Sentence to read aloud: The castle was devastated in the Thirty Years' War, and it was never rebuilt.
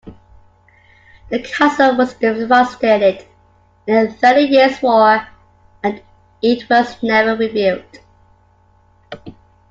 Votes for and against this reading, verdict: 2, 1, accepted